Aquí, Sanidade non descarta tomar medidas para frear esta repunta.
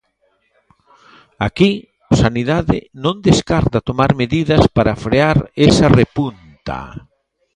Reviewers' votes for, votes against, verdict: 0, 2, rejected